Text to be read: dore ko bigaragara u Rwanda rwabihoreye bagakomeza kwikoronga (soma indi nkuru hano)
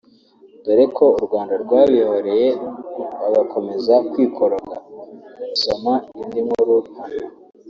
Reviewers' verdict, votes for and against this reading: rejected, 1, 2